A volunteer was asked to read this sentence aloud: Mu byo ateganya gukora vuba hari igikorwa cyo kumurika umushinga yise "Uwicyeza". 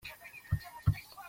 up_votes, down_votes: 0, 2